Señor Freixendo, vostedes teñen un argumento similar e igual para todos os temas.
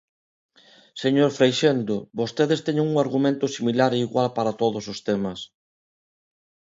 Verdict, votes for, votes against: accepted, 2, 1